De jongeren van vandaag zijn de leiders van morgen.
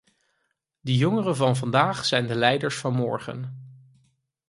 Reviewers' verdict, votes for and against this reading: rejected, 0, 4